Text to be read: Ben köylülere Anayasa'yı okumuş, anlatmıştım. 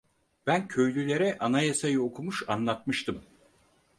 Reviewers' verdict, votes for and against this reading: accepted, 4, 0